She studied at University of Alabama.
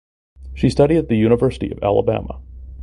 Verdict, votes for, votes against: rejected, 1, 2